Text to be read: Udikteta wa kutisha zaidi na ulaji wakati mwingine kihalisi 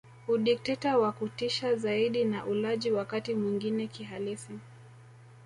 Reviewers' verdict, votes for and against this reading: rejected, 1, 2